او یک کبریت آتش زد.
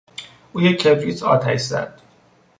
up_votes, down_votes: 2, 0